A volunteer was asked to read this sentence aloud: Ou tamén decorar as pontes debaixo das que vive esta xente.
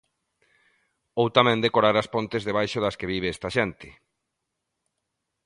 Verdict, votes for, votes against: accepted, 2, 1